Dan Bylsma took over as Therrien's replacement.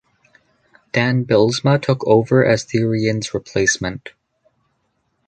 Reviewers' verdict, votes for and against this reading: accepted, 2, 0